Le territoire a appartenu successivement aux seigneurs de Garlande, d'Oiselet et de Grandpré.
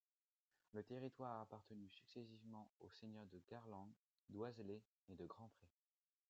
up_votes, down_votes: 1, 2